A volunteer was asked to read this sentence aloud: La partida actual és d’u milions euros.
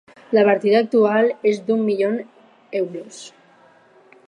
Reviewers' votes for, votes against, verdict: 4, 0, accepted